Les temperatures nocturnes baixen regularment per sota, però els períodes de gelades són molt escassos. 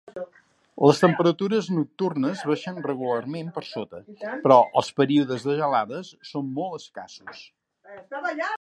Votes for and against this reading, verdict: 0, 2, rejected